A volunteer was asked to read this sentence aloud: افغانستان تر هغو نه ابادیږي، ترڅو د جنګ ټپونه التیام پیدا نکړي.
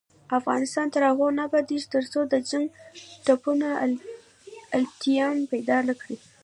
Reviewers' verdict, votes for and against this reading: accepted, 2, 1